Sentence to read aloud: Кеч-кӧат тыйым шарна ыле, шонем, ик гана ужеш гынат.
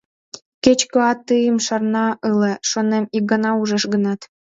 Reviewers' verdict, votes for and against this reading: accepted, 2, 1